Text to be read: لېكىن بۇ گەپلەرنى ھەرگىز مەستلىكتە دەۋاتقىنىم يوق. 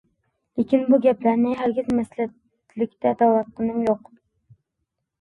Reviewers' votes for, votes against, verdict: 0, 2, rejected